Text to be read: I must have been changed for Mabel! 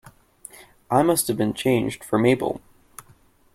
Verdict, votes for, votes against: accepted, 2, 0